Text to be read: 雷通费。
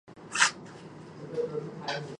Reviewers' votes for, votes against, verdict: 0, 2, rejected